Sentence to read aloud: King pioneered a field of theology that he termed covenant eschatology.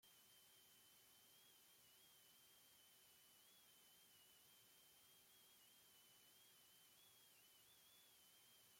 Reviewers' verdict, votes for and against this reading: rejected, 0, 2